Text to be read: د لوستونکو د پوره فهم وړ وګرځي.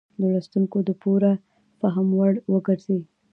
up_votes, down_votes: 2, 0